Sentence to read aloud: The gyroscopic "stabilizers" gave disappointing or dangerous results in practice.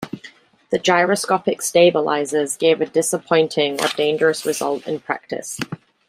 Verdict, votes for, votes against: rejected, 0, 2